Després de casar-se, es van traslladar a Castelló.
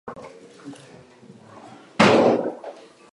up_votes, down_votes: 0, 2